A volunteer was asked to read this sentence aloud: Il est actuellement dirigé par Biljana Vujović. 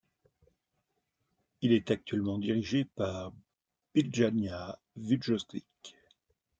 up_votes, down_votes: 1, 2